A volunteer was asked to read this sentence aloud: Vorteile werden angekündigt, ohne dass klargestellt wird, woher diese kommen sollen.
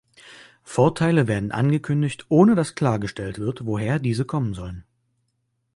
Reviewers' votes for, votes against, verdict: 3, 0, accepted